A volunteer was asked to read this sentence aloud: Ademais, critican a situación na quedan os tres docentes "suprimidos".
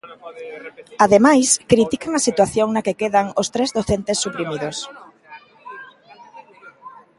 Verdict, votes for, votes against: accepted, 2, 0